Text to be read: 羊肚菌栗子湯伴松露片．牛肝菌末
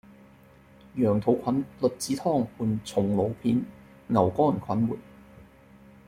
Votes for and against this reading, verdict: 2, 0, accepted